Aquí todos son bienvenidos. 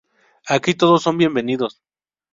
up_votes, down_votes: 2, 0